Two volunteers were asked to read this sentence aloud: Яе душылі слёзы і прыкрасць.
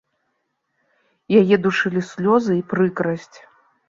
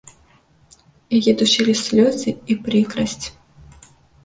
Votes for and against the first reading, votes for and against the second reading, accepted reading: 2, 0, 1, 2, first